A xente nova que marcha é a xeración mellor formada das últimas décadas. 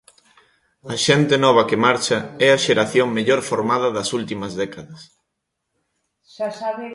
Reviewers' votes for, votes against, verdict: 0, 2, rejected